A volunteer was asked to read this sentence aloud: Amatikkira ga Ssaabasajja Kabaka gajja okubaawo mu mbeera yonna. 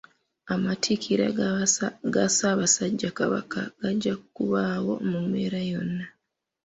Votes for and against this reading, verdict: 2, 1, accepted